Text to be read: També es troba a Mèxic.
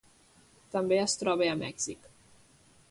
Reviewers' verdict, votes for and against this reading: accepted, 2, 1